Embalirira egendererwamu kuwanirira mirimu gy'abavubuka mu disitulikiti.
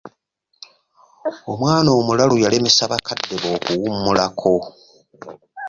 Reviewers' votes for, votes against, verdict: 0, 2, rejected